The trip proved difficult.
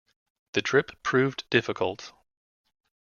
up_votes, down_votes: 2, 0